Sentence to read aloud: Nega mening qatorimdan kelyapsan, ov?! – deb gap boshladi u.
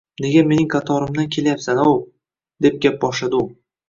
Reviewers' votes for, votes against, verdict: 2, 0, accepted